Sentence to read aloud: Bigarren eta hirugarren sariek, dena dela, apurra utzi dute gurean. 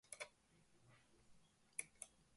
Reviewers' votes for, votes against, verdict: 0, 2, rejected